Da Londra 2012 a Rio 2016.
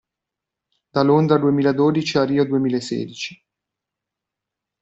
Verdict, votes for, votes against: rejected, 0, 2